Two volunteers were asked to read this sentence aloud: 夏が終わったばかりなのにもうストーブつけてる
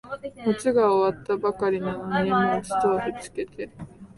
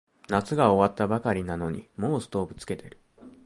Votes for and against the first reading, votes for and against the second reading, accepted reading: 1, 2, 2, 0, second